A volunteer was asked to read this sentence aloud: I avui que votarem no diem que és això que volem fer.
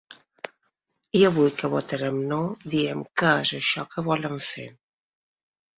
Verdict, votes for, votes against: rejected, 1, 2